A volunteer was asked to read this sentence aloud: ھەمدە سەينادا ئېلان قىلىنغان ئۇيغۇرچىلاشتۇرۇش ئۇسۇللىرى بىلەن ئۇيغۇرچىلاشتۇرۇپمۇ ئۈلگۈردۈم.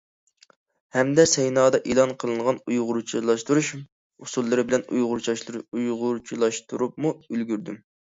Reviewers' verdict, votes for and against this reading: rejected, 0, 2